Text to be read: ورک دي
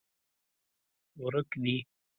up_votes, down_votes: 2, 0